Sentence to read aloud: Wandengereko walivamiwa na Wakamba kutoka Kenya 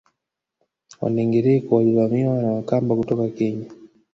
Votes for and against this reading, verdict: 1, 2, rejected